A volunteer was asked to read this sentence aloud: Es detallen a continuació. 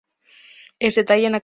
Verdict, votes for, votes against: rejected, 1, 2